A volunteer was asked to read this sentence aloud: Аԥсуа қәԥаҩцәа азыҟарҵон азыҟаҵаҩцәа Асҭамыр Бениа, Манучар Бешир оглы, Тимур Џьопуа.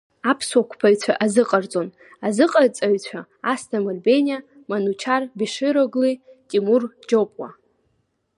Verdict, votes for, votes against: accepted, 2, 0